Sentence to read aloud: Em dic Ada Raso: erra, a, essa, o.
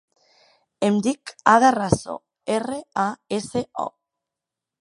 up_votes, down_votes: 2, 1